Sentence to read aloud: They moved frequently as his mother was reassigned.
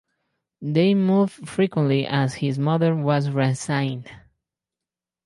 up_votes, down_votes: 2, 4